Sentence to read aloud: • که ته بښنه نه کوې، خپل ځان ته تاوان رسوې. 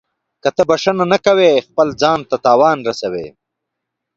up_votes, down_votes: 2, 0